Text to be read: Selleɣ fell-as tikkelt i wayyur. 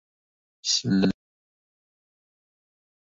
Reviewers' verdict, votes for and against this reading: rejected, 0, 2